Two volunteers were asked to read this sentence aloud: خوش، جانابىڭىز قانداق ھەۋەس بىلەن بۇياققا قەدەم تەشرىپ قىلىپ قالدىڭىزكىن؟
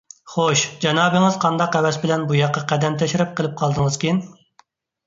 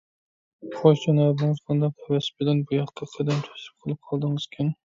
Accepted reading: first